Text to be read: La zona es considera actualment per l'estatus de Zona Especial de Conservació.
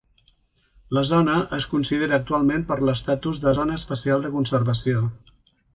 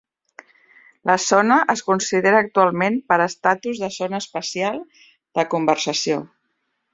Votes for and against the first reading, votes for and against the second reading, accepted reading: 3, 0, 1, 2, first